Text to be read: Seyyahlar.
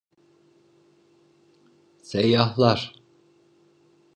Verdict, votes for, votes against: accepted, 2, 0